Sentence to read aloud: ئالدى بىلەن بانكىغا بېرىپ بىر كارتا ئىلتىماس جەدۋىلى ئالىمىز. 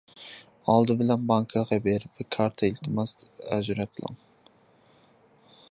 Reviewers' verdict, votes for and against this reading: rejected, 0, 2